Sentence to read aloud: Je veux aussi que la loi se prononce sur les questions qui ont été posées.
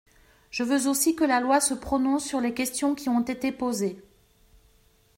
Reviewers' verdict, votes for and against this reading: accepted, 2, 0